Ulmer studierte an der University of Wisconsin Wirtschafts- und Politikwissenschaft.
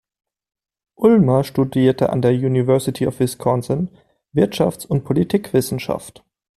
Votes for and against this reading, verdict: 2, 0, accepted